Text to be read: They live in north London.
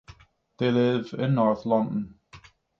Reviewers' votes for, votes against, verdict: 6, 0, accepted